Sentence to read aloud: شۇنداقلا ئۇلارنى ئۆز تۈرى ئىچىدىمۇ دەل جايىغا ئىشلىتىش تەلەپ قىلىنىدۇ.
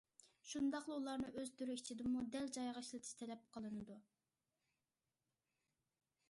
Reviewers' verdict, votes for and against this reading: accepted, 2, 0